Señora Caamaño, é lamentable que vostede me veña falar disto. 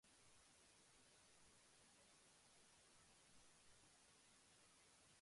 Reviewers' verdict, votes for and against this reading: rejected, 0, 2